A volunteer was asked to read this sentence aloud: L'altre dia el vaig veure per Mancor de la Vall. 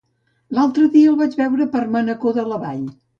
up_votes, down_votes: 0, 2